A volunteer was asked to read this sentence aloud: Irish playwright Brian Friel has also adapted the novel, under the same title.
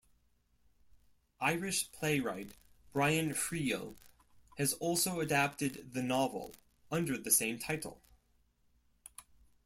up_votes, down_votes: 2, 0